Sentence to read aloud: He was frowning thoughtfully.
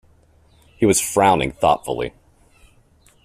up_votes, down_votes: 2, 0